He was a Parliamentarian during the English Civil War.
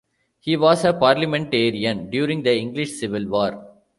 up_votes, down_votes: 0, 2